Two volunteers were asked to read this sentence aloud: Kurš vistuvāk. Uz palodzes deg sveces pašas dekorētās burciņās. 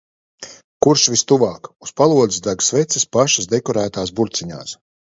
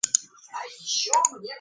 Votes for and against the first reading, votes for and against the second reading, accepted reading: 2, 0, 0, 2, first